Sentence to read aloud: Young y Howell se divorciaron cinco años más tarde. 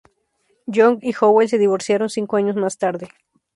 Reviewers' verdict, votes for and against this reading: accepted, 2, 0